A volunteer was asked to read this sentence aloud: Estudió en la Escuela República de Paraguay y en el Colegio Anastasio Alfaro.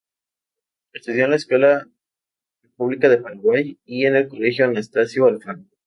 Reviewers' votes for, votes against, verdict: 2, 0, accepted